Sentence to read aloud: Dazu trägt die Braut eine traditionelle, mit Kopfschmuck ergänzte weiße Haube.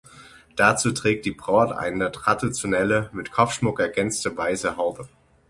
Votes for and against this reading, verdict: 6, 0, accepted